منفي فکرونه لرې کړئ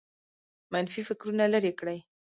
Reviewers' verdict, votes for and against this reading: rejected, 0, 2